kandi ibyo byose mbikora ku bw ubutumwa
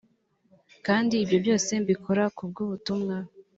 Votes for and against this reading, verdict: 2, 0, accepted